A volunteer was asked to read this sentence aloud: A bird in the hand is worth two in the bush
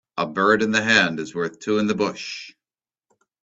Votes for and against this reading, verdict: 2, 0, accepted